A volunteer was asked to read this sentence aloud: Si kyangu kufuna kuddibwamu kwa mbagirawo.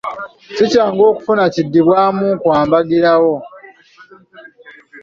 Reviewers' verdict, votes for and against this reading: rejected, 0, 2